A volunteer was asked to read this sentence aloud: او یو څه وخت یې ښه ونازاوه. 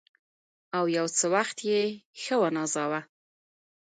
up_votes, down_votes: 1, 2